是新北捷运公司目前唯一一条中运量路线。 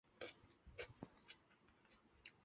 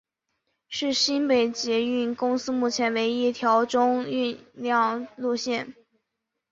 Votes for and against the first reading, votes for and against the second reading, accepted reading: 1, 2, 6, 0, second